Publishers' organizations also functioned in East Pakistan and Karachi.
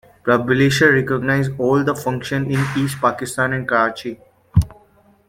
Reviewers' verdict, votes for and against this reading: rejected, 1, 2